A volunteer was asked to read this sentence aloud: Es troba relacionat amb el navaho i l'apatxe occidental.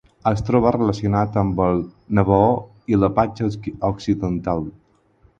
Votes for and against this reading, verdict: 0, 4, rejected